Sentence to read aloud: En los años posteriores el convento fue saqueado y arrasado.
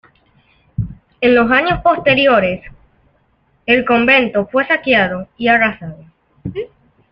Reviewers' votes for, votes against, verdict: 2, 0, accepted